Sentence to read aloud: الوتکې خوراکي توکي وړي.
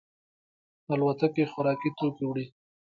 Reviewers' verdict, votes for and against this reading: rejected, 0, 2